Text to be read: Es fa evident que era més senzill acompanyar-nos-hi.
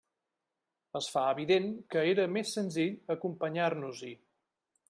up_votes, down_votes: 3, 0